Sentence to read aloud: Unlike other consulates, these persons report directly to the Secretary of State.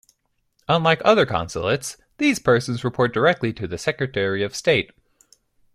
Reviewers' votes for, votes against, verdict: 2, 0, accepted